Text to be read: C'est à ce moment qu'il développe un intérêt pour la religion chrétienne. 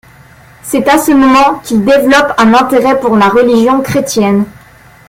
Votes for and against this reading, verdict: 0, 2, rejected